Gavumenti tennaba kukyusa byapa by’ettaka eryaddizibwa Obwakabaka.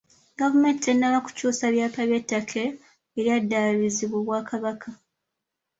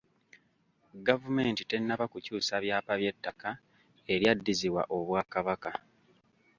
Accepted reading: second